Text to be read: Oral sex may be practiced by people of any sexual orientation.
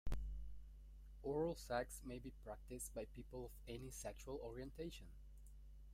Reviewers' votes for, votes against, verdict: 1, 2, rejected